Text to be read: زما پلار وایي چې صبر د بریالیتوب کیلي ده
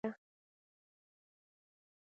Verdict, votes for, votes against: rejected, 2, 3